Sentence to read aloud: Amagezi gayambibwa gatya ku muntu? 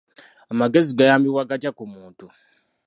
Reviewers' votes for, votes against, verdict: 2, 1, accepted